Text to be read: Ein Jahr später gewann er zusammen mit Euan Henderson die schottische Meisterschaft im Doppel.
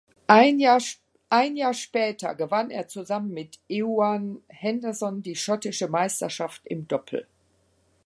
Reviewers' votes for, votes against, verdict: 0, 2, rejected